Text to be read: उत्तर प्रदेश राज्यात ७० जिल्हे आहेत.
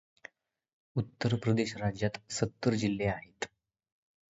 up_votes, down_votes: 0, 2